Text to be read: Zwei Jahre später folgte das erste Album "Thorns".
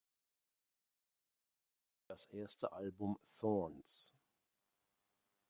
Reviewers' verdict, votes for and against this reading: rejected, 0, 2